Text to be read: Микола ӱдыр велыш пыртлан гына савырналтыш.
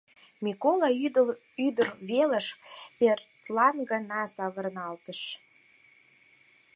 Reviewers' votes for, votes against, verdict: 0, 4, rejected